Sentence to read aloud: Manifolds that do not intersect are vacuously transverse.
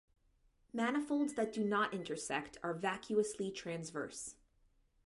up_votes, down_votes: 2, 1